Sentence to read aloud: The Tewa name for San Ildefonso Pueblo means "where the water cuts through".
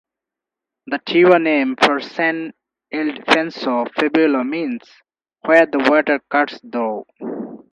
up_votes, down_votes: 0, 2